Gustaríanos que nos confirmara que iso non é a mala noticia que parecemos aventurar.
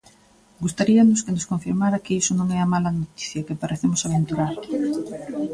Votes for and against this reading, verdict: 1, 2, rejected